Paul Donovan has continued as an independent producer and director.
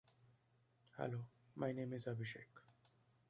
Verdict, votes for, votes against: rejected, 0, 2